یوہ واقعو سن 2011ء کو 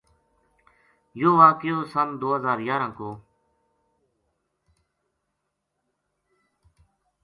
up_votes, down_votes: 0, 2